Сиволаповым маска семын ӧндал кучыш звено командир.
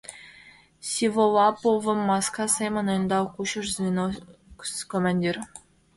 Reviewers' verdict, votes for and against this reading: rejected, 1, 2